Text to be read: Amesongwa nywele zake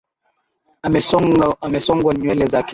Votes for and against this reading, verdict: 0, 2, rejected